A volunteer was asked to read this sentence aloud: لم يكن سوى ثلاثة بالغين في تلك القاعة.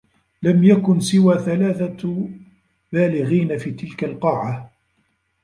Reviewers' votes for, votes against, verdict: 1, 2, rejected